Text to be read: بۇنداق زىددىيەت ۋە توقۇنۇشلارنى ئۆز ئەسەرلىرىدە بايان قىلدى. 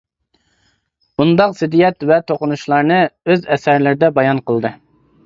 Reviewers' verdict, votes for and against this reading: accepted, 2, 0